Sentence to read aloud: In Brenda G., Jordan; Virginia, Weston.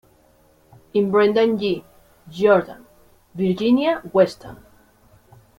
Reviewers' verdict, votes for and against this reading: rejected, 1, 2